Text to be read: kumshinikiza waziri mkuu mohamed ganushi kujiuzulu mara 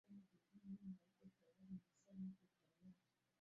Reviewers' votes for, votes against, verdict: 0, 2, rejected